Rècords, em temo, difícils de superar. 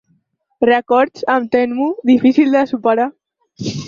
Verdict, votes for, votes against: accepted, 4, 2